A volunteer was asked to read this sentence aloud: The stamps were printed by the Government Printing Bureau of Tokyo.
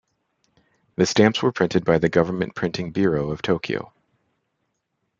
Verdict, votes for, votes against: accepted, 2, 0